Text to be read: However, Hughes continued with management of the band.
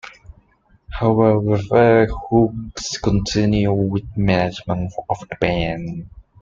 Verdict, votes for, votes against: rejected, 0, 2